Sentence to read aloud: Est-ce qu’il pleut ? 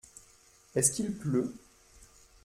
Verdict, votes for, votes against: accepted, 2, 0